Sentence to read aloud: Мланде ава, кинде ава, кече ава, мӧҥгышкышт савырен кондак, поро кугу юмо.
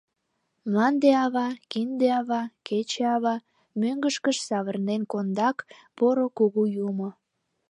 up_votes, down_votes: 0, 2